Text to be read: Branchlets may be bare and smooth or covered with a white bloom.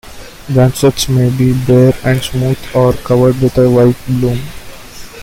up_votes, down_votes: 2, 1